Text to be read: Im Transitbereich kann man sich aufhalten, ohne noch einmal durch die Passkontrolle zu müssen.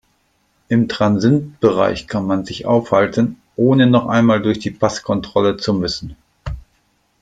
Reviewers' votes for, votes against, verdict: 0, 2, rejected